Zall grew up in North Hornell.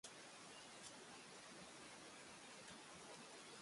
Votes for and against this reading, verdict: 0, 3, rejected